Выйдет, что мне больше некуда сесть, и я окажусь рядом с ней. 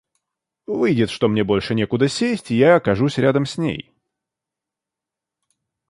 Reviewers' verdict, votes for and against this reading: accepted, 2, 0